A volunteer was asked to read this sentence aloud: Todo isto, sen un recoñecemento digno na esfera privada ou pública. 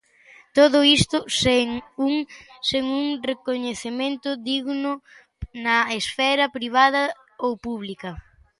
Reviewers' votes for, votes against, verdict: 0, 2, rejected